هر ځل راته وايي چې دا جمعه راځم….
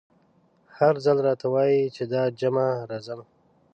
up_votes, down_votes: 0, 2